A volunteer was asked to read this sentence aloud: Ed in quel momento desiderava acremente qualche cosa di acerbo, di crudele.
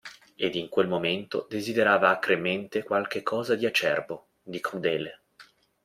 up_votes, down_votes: 2, 0